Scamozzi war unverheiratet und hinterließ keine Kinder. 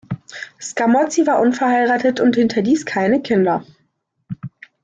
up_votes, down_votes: 2, 0